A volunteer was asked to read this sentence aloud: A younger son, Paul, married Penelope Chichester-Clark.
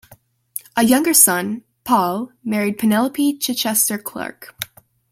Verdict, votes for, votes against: accepted, 2, 0